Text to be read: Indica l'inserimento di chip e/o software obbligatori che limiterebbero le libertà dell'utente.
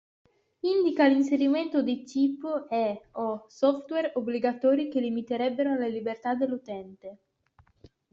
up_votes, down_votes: 2, 1